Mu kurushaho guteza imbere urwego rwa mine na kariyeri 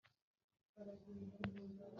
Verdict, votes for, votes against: rejected, 1, 2